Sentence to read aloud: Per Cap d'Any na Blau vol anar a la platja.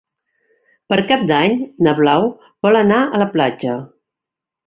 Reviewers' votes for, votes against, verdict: 3, 0, accepted